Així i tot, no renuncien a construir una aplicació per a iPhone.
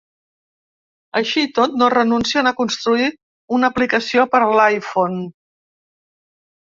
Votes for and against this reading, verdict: 0, 2, rejected